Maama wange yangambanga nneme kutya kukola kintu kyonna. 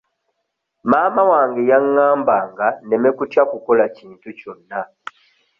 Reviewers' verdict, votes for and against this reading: rejected, 1, 2